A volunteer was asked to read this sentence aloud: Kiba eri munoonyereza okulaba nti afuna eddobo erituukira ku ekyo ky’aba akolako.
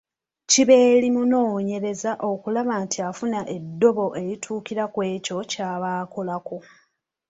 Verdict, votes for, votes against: accepted, 2, 0